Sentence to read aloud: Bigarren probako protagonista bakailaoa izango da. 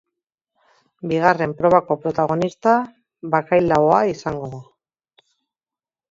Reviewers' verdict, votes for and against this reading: accepted, 3, 0